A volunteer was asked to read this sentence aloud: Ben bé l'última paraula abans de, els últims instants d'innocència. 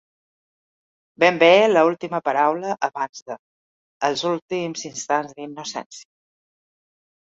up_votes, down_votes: 2, 4